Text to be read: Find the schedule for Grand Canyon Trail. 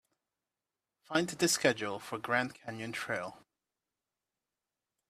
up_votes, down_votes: 2, 0